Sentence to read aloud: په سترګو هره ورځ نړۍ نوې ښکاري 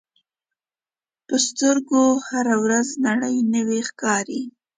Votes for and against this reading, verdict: 2, 0, accepted